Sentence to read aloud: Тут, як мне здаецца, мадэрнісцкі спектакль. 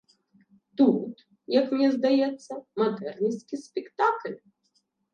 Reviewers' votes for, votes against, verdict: 0, 3, rejected